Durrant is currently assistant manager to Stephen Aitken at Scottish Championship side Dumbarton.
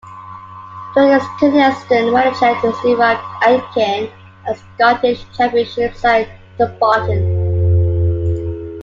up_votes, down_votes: 0, 2